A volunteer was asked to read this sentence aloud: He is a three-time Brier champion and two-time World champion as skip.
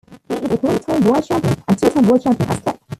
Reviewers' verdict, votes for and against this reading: rejected, 1, 2